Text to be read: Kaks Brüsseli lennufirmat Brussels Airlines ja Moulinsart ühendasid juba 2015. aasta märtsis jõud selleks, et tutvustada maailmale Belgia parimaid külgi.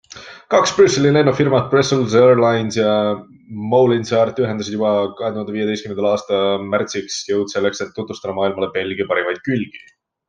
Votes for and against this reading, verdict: 0, 2, rejected